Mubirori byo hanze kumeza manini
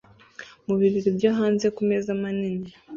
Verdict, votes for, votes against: rejected, 0, 2